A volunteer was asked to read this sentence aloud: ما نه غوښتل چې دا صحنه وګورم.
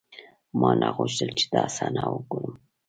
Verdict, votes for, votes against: accepted, 2, 0